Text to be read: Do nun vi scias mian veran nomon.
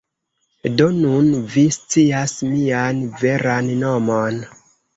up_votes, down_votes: 0, 2